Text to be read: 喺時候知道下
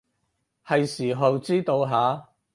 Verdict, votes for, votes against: accepted, 4, 2